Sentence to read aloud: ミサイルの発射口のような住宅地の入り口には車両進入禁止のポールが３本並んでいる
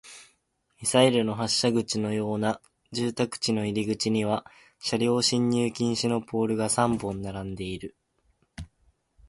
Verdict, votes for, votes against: rejected, 0, 2